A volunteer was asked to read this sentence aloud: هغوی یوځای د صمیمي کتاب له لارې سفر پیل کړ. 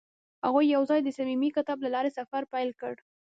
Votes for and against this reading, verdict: 2, 0, accepted